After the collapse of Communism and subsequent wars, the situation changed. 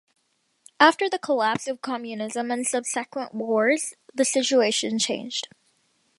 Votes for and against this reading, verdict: 0, 2, rejected